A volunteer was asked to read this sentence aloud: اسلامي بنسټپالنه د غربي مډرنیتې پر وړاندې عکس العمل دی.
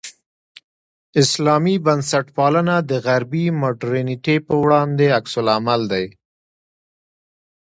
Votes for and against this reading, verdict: 2, 0, accepted